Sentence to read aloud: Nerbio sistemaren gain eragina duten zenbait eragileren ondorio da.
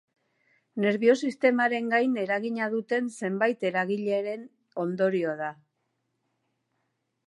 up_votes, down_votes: 2, 0